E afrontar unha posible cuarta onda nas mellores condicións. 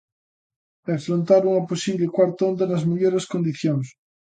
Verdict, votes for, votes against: accepted, 2, 0